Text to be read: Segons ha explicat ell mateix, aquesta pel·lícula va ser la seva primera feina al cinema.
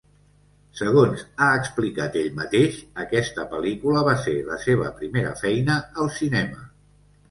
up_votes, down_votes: 3, 0